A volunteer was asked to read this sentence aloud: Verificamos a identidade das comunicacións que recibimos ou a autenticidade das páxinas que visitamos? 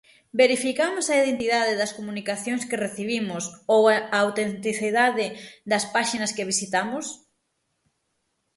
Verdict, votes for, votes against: rejected, 3, 6